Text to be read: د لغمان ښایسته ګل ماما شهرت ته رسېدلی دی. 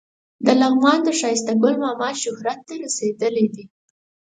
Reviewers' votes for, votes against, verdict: 4, 0, accepted